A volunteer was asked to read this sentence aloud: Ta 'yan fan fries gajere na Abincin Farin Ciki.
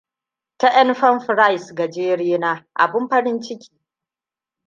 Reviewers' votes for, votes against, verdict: 1, 2, rejected